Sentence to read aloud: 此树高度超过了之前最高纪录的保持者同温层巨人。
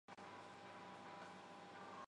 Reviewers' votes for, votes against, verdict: 0, 2, rejected